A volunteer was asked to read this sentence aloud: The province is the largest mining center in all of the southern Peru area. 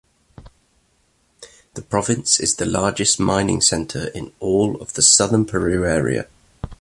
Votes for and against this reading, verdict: 2, 0, accepted